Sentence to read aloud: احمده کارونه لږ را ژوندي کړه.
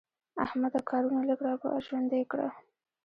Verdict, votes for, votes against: accepted, 2, 0